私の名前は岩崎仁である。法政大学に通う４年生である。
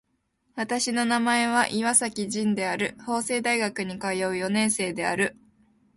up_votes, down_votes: 0, 2